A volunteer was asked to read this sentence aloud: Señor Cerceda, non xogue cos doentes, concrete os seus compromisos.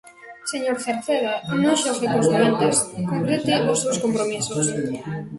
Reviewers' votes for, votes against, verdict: 1, 2, rejected